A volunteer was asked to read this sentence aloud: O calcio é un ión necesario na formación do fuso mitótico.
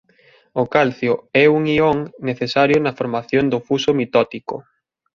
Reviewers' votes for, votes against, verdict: 2, 0, accepted